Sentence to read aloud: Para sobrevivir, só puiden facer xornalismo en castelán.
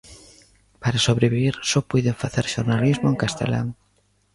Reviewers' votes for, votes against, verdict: 0, 2, rejected